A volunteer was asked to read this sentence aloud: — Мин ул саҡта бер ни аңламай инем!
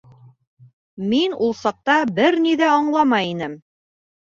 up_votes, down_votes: 0, 2